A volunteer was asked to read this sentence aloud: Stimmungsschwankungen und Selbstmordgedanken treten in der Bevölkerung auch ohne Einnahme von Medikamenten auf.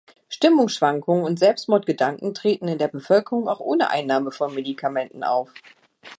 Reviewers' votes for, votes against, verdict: 2, 0, accepted